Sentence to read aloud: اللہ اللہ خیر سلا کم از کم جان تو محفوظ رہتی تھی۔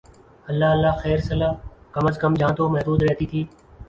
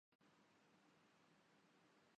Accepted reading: first